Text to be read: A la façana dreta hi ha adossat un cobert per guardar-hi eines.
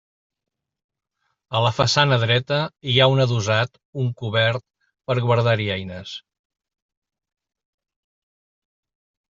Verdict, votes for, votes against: rejected, 0, 2